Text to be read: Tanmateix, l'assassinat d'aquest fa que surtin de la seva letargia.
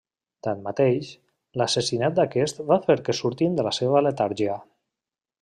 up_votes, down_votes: 1, 2